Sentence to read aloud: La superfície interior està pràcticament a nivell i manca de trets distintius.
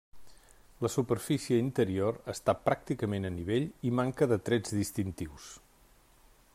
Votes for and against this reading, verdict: 3, 0, accepted